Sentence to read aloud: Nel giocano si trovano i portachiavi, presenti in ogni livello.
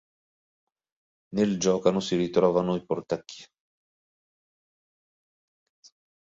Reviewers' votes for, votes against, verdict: 1, 3, rejected